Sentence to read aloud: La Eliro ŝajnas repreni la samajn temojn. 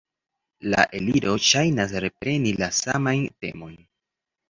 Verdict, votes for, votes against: accepted, 2, 0